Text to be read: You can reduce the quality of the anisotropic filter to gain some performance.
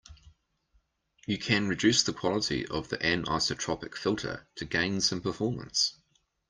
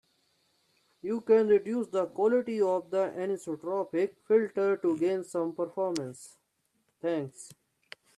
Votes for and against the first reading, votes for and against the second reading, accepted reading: 2, 0, 0, 2, first